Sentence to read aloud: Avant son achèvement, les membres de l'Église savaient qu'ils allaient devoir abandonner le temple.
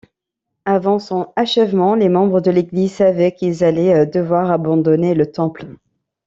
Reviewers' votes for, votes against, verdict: 1, 2, rejected